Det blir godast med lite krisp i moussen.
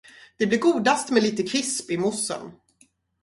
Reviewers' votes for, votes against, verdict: 4, 0, accepted